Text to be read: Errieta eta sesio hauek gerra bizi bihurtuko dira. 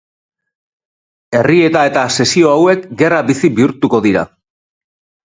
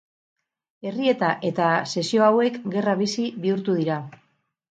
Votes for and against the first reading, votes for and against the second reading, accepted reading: 4, 0, 0, 2, first